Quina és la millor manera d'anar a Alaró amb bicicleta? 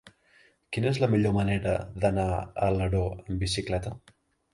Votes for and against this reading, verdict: 0, 2, rejected